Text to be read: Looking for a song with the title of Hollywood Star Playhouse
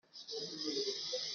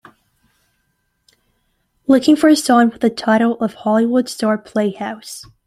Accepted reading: second